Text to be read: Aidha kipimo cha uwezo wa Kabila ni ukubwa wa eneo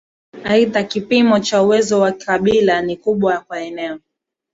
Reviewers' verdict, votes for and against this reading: accepted, 2, 0